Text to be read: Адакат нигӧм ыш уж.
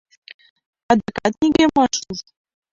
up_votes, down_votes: 1, 2